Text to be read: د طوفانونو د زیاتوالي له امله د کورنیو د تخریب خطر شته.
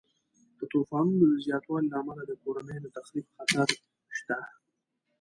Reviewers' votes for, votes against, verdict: 2, 0, accepted